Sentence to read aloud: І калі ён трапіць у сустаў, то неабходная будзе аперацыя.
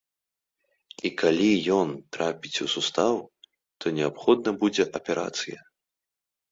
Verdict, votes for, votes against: rejected, 1, 2